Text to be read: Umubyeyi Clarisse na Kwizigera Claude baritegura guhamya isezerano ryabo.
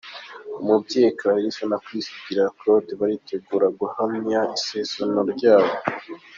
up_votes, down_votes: 2, 0